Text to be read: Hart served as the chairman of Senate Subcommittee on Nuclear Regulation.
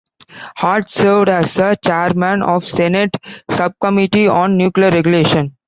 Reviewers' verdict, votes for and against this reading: accepted, 2, 1